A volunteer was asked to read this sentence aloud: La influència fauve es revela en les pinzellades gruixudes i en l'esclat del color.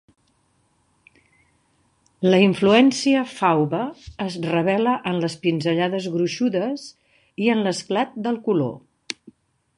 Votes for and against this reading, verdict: 2, 0, accepted